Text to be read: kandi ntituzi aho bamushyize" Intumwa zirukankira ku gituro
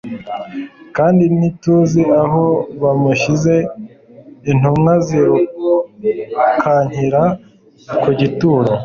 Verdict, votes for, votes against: accepted, 2, 0